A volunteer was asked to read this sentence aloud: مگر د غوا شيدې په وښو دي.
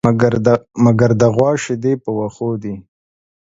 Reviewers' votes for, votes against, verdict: 1, 2, rejected